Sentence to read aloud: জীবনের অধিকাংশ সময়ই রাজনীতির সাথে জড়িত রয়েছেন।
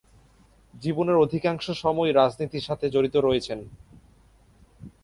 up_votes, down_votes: 3, 0